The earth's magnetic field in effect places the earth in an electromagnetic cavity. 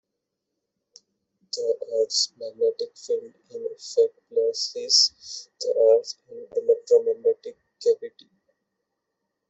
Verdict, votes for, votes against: rejected, 0, 2